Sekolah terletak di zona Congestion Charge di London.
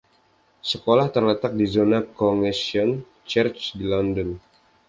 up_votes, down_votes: 1, 2